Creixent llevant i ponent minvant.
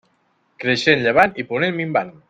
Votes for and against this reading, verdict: 1, 2, rejected